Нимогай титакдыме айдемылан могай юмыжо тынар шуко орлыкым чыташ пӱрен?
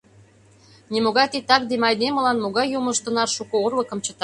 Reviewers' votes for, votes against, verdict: 0, 2, rejected